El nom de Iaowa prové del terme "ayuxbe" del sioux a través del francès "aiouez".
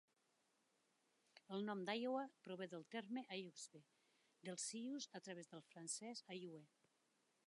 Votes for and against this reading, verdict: 0, 2, rejected